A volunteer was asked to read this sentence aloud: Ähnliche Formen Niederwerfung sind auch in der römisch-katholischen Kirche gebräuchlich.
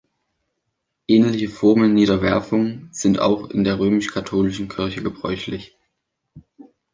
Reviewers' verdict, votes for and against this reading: accepted, 2, 0